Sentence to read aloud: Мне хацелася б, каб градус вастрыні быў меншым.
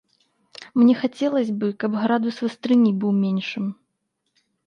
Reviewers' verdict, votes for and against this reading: rejected, 1, 2